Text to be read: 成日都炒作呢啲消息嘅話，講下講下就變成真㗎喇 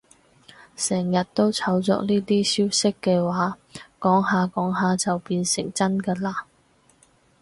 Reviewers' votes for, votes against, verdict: 4, 0, accepted